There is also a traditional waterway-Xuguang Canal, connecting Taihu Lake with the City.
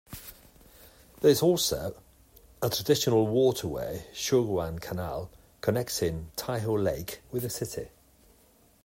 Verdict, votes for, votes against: accepted, 2, 0